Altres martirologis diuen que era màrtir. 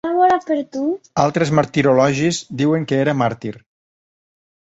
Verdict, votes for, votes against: rejected, 0, 2